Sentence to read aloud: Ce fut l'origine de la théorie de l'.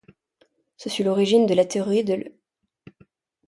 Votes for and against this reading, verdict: 3, 0, accepted